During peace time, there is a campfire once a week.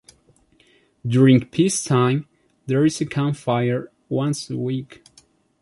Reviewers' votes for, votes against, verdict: 2, 0, accepted